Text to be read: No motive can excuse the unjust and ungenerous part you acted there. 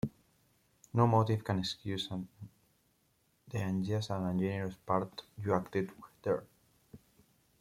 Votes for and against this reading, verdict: 2, 3, rejected